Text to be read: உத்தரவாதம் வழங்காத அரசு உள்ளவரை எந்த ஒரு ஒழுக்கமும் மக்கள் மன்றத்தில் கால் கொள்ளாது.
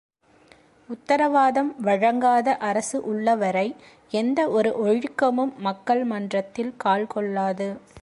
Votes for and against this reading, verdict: 3, 0, accepted